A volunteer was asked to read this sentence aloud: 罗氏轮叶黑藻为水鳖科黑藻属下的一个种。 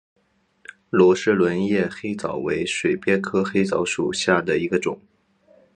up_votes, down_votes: 3, 0